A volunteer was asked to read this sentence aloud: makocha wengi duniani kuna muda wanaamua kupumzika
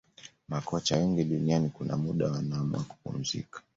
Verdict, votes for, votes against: accepted, 2, 0